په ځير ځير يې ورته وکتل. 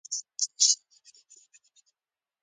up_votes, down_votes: 0, 2